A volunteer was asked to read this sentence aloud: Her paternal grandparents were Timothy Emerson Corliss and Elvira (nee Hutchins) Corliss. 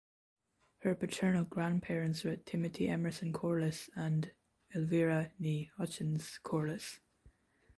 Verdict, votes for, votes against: rejected, 1, 2